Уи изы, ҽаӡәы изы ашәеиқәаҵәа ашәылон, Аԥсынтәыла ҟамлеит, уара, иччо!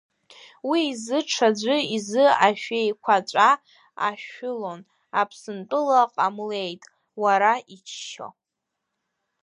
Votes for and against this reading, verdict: 2, 0, accepted